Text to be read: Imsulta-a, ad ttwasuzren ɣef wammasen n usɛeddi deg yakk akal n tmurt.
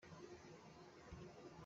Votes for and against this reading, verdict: 0, 2, rejected